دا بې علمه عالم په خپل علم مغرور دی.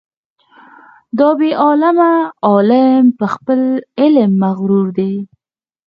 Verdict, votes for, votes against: rejected, 0, 4